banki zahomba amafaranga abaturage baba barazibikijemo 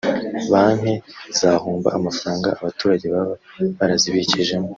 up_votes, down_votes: 0, 2